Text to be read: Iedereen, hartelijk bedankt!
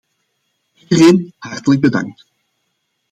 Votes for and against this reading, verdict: 1, 2, rejected